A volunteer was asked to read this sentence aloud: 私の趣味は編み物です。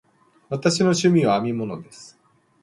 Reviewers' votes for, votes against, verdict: 2, 0, accepted